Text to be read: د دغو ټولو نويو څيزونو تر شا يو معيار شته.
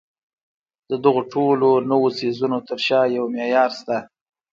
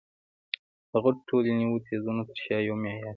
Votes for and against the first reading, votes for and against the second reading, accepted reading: 2, 0, 0, 2, first